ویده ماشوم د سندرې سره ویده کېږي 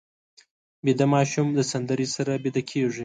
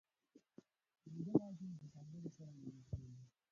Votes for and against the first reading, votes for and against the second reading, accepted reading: 2, 0, 0, 2, first